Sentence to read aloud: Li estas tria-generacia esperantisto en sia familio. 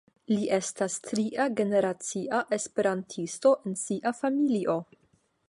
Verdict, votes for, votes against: accepted, 5, 0